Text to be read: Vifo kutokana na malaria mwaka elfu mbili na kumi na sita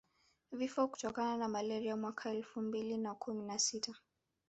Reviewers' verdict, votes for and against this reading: rejected, 1, 2